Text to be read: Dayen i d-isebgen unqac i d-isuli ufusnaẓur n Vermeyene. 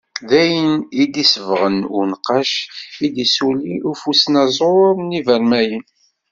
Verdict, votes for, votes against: rejected, 1, 2